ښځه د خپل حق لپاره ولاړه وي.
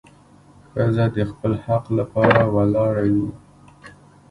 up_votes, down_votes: 1, 2